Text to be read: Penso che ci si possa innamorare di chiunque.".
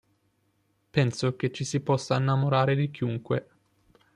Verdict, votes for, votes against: accepted, 2, 0